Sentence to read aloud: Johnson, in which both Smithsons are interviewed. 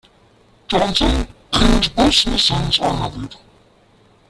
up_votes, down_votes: 0, 2